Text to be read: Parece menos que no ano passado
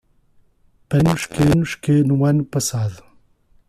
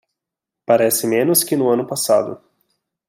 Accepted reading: second